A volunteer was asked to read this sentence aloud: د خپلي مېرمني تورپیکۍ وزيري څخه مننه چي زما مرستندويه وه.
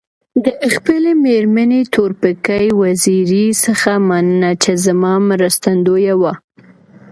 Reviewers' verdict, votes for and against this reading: accepted, 2, 1